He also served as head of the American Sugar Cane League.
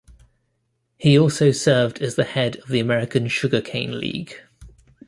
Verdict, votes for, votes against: rejected, 1, 2